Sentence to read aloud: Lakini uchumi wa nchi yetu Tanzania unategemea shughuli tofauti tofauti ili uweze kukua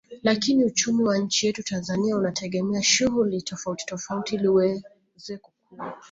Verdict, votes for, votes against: accepted, 2, 1